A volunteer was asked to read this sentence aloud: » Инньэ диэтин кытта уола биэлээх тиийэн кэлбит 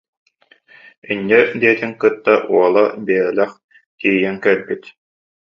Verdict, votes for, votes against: rejected, 0, 2